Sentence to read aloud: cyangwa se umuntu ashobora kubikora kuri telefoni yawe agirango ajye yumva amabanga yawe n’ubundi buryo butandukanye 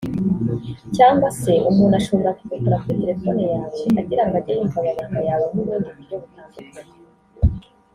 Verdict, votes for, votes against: rejected, 1, 2